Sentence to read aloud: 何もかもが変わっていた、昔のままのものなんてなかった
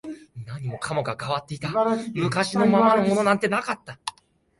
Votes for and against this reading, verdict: 1, 2, rejected